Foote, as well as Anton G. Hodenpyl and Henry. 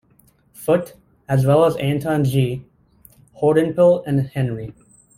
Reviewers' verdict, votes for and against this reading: accepted, 2, 0